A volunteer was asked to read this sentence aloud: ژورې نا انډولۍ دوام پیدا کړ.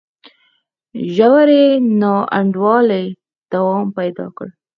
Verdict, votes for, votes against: accepted, 4, 0